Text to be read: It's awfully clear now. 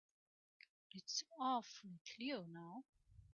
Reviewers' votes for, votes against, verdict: 2, 3, rejected